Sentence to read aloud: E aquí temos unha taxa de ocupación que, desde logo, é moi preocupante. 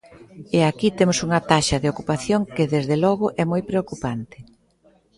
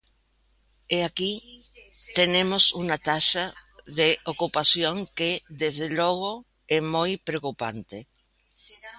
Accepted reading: first